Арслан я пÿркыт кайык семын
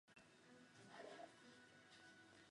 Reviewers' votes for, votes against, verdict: 0, 2, rejected